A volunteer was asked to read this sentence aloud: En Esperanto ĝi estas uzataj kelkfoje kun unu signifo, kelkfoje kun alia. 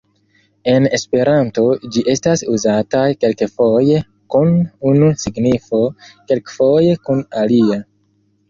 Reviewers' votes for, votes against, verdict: 1, 2, rejected